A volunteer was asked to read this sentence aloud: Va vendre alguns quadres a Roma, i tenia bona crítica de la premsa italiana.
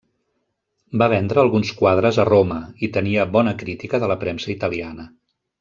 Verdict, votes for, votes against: accepted, 3, 0